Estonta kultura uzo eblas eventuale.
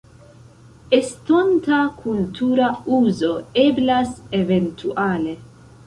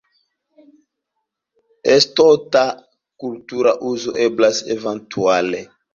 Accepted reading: first